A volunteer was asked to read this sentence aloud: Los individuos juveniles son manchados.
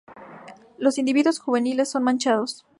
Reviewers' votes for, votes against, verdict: 2, 0, accepted